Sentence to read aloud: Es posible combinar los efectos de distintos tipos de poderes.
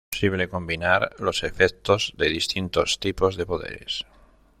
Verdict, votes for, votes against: rejected, 1, 2